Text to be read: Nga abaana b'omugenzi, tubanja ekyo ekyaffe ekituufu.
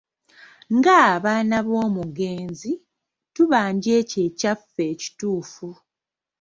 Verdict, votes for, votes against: accepted, 3, 1